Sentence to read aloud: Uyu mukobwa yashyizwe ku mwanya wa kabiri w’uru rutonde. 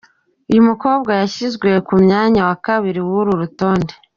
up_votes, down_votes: 2, 1